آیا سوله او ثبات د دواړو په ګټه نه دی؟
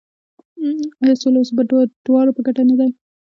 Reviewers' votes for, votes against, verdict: 1, 2, rejected